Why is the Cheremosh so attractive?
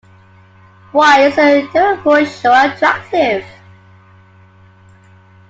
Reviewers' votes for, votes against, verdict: 1, 2, rejected